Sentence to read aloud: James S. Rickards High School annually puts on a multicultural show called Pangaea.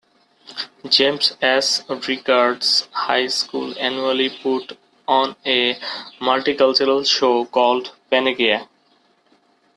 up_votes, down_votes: 0, 2